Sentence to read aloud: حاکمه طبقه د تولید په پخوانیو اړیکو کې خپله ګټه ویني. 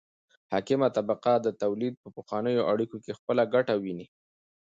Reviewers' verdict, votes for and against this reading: accepted, 2, 0